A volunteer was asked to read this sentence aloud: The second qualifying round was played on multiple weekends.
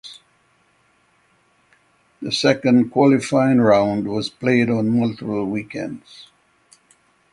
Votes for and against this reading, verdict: 6, 0, accepted